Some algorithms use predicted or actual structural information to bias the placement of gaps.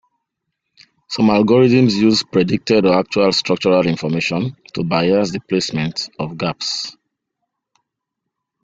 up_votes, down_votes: 2, 0